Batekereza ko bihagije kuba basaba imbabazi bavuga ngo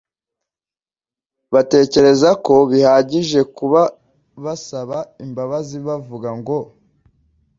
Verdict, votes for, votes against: accepted, 2, 0